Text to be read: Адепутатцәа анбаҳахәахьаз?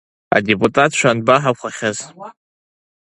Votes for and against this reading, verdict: 1, 2, rejected